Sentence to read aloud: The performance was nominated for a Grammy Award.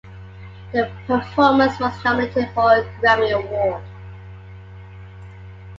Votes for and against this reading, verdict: 0, 2, rejected